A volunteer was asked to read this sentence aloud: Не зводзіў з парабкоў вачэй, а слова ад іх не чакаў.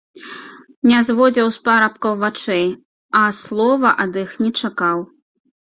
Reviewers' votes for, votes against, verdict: 1, 2, rejected